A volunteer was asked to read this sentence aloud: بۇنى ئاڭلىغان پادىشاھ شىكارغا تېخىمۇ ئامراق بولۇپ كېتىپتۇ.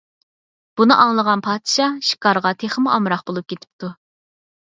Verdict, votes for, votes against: accepted, 4, 0